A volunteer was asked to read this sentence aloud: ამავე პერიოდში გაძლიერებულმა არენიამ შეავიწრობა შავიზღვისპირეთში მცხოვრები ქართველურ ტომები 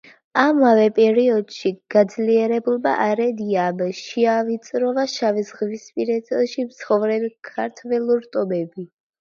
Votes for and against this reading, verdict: 1, 2, rejected